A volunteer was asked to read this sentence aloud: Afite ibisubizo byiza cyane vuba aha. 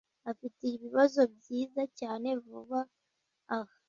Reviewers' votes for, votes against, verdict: 0, 2, rejected